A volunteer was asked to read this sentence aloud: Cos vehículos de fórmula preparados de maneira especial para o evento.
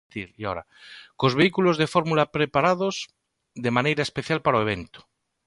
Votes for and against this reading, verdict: 1, 3, rejected